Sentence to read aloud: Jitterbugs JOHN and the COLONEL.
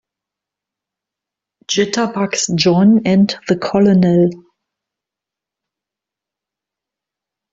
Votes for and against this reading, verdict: 2, 3, rejected